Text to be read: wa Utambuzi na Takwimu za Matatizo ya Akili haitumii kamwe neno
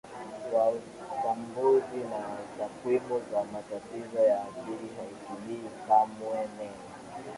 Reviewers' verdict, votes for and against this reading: rejected, 0, 4